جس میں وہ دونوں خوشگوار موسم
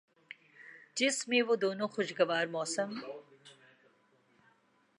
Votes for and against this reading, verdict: 2, 0, accepted